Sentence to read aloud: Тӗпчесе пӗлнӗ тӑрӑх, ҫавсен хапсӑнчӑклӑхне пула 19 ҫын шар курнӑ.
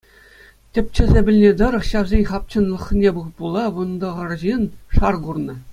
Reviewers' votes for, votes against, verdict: 0, 2, rejected